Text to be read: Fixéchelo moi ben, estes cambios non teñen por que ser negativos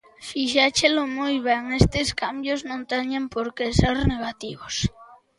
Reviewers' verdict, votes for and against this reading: accepted, 2, 0